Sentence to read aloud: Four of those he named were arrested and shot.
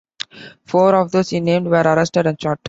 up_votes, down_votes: 0, 2